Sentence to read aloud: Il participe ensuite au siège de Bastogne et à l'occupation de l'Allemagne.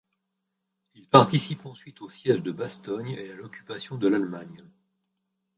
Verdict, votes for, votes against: rejected, 1, 2